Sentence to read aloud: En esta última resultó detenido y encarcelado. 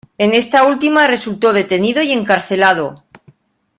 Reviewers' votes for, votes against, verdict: 2, 0, accepted